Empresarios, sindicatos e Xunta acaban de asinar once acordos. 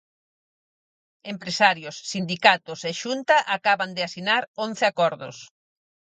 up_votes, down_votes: 4, 0